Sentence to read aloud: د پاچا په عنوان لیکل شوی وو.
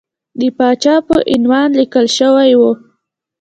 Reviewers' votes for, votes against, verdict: 2, 0, accepted